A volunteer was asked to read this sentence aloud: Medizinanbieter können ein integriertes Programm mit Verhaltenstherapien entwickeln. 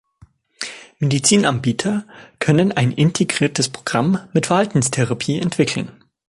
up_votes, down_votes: 2, 0